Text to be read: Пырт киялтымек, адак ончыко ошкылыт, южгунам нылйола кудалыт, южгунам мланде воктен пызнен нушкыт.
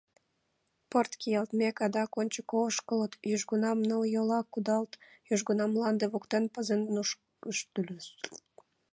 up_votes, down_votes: 0, 2